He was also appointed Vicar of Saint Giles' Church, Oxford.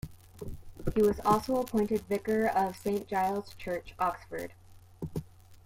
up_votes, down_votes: 2, 0